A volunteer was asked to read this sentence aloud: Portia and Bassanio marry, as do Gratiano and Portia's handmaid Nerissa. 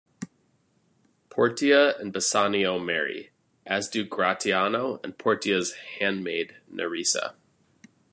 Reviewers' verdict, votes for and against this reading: accepted, 2, 1